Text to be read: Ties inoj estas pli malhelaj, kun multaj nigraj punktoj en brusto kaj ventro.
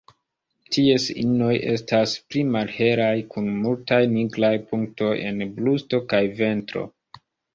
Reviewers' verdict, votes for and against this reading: rejected, 1, 3